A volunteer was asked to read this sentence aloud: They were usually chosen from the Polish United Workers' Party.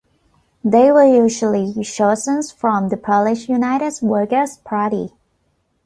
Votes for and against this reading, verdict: 1, 2, rejected